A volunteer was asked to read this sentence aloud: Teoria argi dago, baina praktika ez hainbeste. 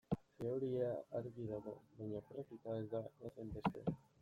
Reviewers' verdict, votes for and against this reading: rejected, 0, 2